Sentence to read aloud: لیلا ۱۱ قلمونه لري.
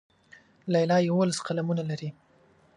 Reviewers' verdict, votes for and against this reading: rejected, 0, 2